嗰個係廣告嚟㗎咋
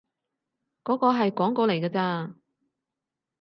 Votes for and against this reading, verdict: 4, 0, accepted